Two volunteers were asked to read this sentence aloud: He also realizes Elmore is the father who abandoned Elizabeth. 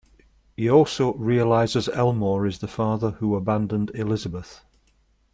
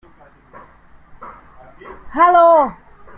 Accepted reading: first